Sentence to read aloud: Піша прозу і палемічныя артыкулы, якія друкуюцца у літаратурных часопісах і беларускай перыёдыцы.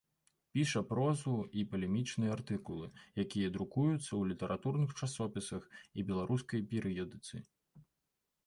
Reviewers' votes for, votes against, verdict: 2, 0, accepted